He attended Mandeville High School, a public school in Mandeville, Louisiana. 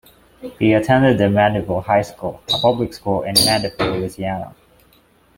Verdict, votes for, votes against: rejected, 0, 2